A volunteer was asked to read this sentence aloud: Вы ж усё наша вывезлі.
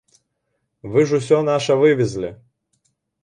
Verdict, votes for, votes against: accepted, 2, 0